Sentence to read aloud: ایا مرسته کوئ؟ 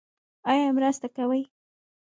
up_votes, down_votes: 1, 2